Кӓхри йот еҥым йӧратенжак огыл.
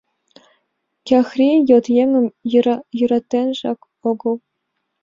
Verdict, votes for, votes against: accepted, 4, 0